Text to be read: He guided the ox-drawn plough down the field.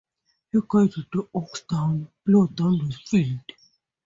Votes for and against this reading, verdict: 0, 2, rejected